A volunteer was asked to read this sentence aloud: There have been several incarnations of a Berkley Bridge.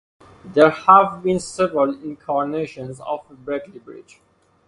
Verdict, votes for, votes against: accepted, 4, 0